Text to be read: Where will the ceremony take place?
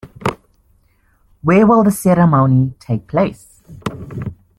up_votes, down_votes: 2, 0